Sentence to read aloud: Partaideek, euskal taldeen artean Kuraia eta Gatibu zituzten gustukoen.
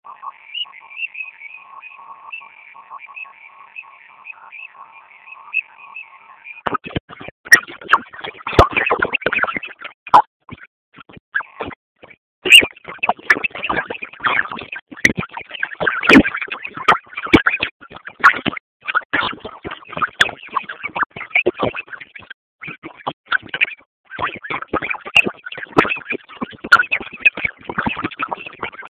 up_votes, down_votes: 0, 2